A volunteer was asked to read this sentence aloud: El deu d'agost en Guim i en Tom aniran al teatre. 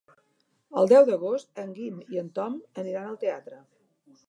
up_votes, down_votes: 4, 0